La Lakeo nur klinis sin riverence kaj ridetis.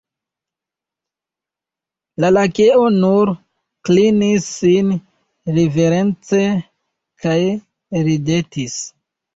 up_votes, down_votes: 2, 1